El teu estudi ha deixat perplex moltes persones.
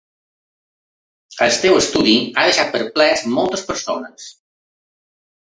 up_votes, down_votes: 2, 1